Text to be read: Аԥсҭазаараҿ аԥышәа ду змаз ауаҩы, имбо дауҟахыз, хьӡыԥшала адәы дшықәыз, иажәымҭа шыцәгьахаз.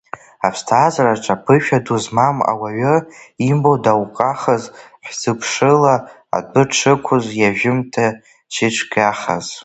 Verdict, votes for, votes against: rejected, 0, 2